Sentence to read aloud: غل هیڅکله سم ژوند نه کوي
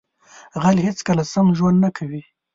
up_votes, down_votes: 2, 0